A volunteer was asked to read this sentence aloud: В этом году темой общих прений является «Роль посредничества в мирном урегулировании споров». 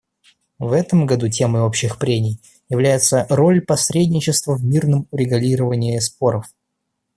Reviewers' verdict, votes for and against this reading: rejected, 0, 2